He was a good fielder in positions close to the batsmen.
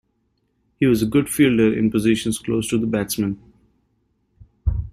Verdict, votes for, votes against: accepted, 2, 0